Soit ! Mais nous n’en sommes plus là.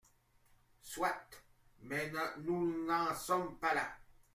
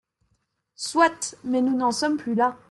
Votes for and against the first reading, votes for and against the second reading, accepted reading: 1, 2, 2, 0, second